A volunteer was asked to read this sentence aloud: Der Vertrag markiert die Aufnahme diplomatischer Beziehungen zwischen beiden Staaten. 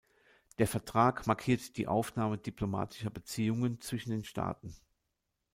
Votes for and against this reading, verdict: 0, 2, rejected